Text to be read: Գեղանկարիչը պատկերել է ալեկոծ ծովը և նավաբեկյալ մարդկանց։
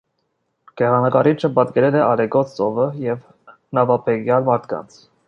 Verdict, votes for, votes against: accepted, 2, 0